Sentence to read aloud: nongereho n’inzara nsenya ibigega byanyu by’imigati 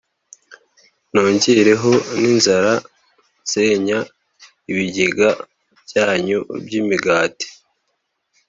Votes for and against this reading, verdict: 2, 0, accepted